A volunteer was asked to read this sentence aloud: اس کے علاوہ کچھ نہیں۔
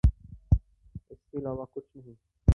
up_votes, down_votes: 2, 0